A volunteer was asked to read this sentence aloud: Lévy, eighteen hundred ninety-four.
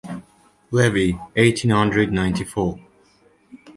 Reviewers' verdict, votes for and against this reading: accepted, 2, 0